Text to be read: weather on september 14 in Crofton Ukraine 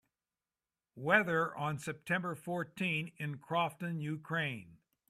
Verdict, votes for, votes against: rejected, 0, 2